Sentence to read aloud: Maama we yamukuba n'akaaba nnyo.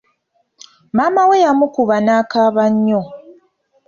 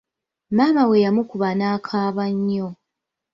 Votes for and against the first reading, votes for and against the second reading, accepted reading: 2, 0, 1, 2, first